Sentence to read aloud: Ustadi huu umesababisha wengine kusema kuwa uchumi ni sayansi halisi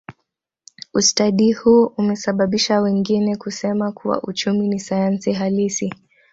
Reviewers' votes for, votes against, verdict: 3, 0, accepted